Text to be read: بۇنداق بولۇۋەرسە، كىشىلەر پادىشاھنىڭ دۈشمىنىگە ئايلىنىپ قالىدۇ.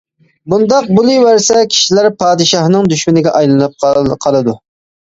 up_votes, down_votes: 1, 2